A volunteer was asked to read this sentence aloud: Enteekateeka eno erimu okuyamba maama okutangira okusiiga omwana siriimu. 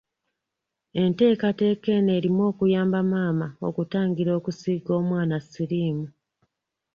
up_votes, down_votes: 2, 0